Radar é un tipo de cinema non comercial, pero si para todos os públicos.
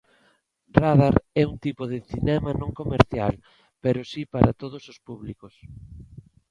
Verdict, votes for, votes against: accepted, 2, 0